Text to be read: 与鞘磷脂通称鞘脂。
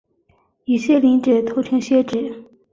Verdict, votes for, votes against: accepted, 4, 0